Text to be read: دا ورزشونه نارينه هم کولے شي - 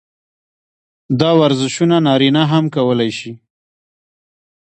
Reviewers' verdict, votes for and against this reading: accepted, 2, 0